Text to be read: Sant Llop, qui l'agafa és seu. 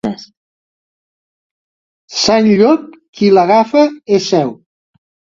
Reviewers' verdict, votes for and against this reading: rejected, 1, 2